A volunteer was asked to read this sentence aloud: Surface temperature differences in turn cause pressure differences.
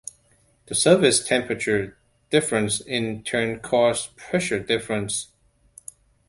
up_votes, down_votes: 0, 2